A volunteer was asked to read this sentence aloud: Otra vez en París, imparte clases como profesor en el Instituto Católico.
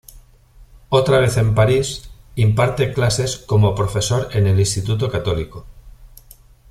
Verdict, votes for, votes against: accepted, 2, 0